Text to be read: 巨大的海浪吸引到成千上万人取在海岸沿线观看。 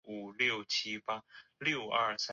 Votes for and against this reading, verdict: 0, 2, rejected